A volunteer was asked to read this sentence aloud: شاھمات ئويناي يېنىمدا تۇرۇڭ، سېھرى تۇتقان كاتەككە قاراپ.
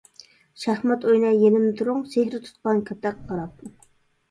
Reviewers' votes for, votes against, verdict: 0, 2, rejected